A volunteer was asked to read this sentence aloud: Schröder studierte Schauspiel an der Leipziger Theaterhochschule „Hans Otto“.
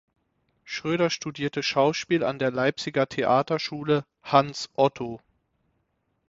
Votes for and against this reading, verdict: 3, 6, rejected